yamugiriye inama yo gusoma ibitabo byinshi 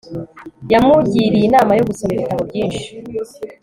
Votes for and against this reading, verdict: 2, 0, accepted